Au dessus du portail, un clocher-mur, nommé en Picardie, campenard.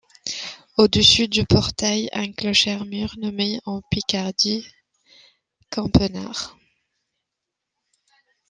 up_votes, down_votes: 1, 2